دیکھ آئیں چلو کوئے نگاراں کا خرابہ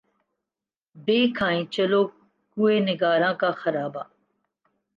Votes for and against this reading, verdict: 2, 1, accepted